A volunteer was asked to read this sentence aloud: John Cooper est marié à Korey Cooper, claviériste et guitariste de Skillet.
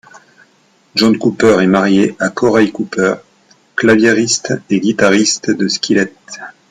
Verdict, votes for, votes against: accepted, 2, 0